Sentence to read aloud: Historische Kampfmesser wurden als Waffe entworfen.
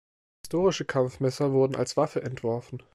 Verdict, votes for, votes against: accepted, 2, 0